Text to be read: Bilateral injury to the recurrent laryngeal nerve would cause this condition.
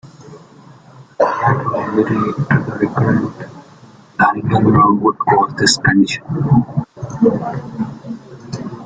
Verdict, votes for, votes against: rejected, 0, 2